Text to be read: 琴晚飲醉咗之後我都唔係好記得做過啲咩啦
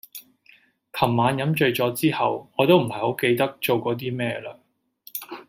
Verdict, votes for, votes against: accepted, 2, 0